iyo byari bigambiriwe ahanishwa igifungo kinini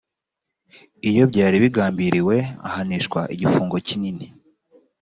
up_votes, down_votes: 2, 0